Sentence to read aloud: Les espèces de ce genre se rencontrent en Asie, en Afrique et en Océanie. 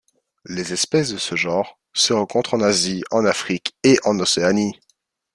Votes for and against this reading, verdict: 2, 0, accepted